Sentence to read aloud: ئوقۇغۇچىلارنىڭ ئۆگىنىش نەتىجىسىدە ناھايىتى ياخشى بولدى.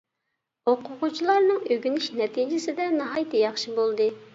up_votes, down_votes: 2, 0